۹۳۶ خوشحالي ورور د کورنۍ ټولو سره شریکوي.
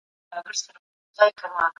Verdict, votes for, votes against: rejected, 0, 2